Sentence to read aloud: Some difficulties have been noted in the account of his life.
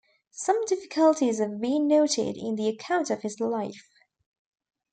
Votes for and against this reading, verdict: 2, 0, accepted